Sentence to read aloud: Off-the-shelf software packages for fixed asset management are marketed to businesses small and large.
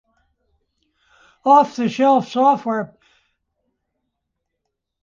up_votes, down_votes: 0, 2